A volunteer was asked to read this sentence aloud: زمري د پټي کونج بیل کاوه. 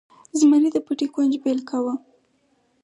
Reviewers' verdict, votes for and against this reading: accepted, 4, 0